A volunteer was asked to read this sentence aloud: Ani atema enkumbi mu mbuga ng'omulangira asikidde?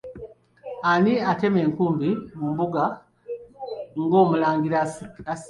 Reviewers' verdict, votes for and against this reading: rejected, 0, 2